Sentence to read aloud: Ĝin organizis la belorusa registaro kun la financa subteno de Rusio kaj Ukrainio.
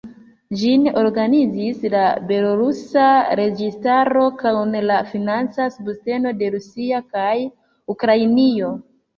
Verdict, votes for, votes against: rejected, 1, 2